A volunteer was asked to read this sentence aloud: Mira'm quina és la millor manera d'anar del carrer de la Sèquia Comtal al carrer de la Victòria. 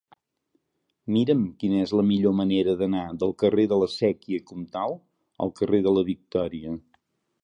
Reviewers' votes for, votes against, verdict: 2, 0, accepted